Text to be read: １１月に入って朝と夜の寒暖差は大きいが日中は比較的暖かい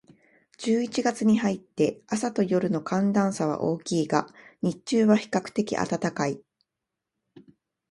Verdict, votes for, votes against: rejected, 0, 2